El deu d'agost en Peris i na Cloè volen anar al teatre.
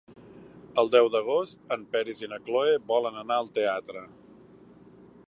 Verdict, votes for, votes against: accepted, 4, 0